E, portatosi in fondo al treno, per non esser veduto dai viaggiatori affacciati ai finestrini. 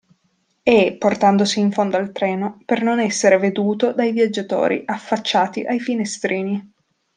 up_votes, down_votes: 0, 2